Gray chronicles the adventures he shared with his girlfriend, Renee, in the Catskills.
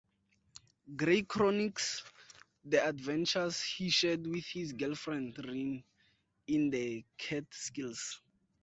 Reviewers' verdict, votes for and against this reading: rejected, 0, 2